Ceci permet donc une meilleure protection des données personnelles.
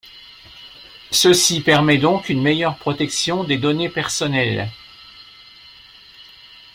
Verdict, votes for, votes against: rejected, 1, 2